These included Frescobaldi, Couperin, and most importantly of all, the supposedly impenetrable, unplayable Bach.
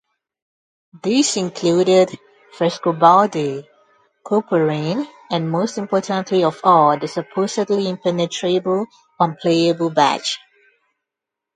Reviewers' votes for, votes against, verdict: 0, 2, rejected